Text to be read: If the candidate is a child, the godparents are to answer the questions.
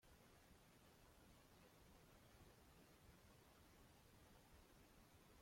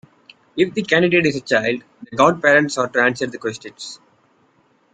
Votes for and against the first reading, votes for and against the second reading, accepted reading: 0, 2, 2, 0, second